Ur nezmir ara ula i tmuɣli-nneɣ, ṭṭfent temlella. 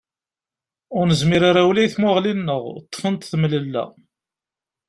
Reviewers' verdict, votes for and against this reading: accepted, 2, 0